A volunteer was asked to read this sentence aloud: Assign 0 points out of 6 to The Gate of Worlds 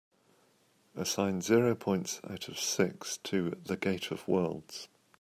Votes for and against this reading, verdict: 0, 2, rejected